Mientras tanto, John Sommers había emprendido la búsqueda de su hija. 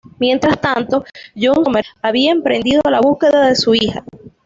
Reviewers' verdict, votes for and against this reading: rejected, 1, 2